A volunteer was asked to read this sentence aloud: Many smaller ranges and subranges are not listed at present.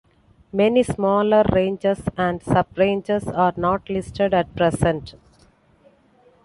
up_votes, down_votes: 2, 0